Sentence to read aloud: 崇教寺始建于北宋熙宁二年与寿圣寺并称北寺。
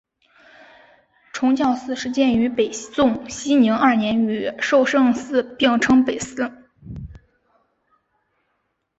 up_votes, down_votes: 2, 0